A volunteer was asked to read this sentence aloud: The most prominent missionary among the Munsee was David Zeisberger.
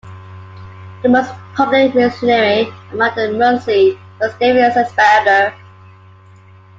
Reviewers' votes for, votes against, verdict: 2, 1, accepted